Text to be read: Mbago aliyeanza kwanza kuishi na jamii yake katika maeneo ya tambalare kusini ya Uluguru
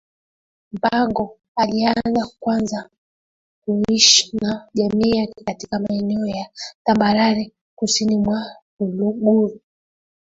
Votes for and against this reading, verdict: 0, 2, rejected